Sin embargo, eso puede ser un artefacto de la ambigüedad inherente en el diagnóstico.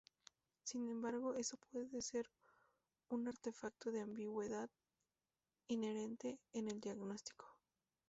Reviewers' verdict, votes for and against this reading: rejected, 0, 2